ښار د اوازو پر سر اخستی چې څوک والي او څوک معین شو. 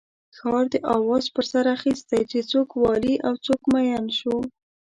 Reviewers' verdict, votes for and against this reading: rejected, 0, 2